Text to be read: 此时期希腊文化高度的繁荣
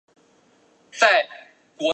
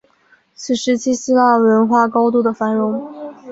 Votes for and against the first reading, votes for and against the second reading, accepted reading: 0, 2, 2, 1, second